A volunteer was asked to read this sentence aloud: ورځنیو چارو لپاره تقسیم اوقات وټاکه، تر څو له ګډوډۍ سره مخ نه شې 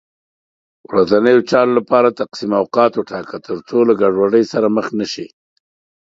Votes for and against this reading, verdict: 2, 0, accepted